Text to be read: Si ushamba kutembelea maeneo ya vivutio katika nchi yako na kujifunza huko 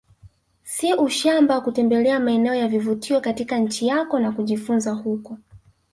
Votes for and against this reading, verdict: 4, 2, accepted